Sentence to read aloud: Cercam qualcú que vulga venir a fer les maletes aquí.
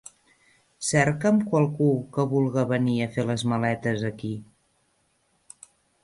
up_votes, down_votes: 1, 2